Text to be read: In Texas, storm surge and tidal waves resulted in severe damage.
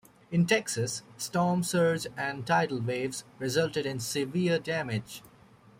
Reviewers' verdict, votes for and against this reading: rejected, 1, 3